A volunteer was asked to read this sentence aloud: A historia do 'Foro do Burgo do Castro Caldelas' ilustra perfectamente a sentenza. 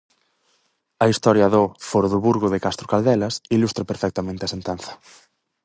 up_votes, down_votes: 0, 4